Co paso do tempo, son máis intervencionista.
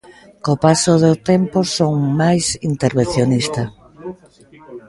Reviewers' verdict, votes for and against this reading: rejected, 0, 2